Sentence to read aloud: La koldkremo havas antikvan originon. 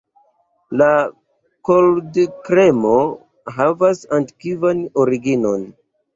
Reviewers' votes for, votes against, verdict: 0, 2, rejected